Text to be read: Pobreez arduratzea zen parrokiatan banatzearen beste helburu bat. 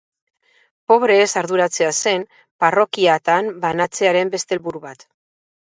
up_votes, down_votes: 2, 0